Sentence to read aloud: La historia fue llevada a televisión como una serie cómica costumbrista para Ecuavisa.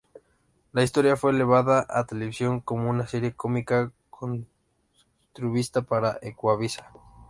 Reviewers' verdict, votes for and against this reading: rejected, 0, 2